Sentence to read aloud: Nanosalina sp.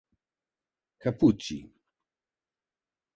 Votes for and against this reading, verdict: 0, 2, rejected